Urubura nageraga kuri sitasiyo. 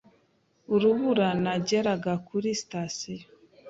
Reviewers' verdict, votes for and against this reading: accepted, 2, 0